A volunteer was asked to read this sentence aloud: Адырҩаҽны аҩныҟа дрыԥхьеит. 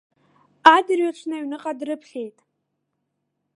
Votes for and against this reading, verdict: 1, 2, rejected